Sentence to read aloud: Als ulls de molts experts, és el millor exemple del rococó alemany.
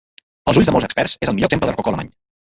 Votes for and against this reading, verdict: 0, 2, rejected